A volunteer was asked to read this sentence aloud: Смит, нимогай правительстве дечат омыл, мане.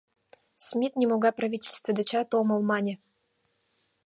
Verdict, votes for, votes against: accepted, 2, 0